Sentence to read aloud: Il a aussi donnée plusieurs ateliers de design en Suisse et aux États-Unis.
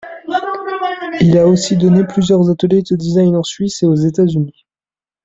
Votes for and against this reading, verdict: 1, 2, rejected